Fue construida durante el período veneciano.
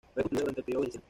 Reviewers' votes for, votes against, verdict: 1, 2, rejected